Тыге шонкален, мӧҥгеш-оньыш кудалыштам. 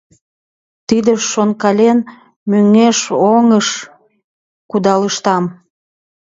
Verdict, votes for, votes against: rejected, 0, 2